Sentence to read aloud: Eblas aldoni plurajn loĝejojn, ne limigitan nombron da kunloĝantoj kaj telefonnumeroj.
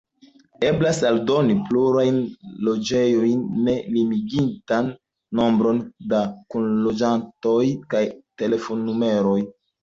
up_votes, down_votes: 1, 2